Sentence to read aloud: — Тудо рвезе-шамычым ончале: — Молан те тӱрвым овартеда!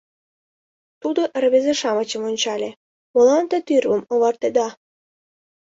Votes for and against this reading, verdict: 2, 0, accepted